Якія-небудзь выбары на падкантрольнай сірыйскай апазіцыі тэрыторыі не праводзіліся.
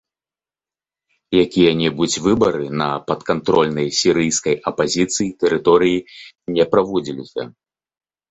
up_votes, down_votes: 2, 0